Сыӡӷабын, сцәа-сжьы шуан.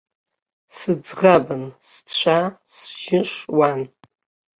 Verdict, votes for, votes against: accepted, 2, 0